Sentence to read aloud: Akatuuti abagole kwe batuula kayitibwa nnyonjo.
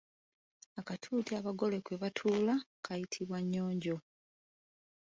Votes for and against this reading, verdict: 1, 2, rejected